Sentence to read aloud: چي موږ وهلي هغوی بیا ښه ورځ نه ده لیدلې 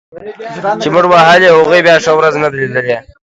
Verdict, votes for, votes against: rejected, 1, 2